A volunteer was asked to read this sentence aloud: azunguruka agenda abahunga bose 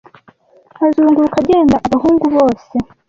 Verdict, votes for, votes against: rejected, 1, 2